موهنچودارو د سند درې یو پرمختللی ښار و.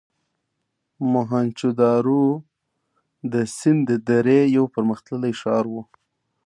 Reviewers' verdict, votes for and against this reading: accepted, 2, 1